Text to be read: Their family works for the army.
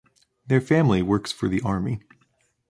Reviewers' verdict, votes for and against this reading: accepted, 2, 1